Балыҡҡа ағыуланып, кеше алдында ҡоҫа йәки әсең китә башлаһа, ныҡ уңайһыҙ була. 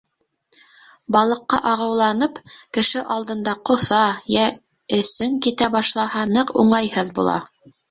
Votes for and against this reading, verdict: 1, 2, rejected